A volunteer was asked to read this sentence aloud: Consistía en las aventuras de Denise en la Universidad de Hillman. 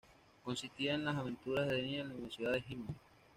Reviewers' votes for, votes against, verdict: 1, 2, rejected